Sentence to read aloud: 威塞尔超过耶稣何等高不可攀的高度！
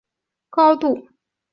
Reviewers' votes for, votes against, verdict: 0, 2, rejected